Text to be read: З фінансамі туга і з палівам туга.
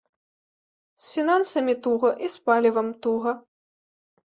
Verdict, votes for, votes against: accepted, 2, 0